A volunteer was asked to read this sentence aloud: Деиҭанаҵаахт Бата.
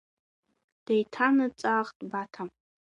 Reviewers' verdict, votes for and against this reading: accepted, 2, 0